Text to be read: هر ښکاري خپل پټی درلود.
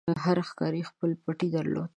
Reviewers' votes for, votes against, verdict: 2, 0, accepted